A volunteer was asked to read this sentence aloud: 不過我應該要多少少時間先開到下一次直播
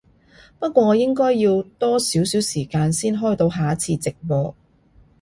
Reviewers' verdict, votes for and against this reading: accepted, 2, 0